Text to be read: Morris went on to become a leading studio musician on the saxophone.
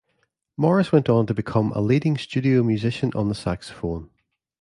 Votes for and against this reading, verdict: 2, 0, accepted